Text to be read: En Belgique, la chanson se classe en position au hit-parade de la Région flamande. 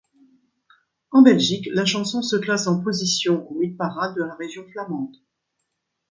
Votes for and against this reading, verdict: 2, 0, accepted